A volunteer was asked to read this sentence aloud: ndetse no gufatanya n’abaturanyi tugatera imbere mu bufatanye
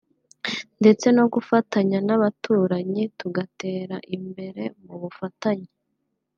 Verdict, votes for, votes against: accepted, 2, 0